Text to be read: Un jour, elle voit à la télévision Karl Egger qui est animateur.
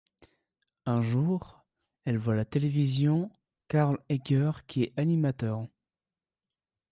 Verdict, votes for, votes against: rejected, 1, 2